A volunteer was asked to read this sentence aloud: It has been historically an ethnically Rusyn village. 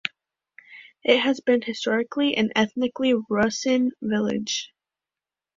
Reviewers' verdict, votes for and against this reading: accepted, 2, 0